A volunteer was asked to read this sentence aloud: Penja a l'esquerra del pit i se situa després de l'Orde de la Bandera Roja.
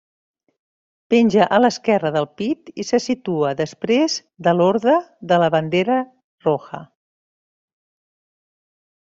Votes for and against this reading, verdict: 0, 2, rejected